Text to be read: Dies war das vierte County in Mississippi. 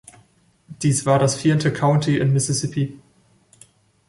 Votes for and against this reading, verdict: 2, 0, accepted